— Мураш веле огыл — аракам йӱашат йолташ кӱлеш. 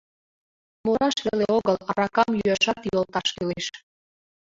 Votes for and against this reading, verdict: 0, 2, rejected